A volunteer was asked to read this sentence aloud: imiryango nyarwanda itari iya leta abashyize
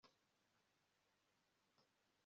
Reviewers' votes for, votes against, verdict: 0, 2, rejected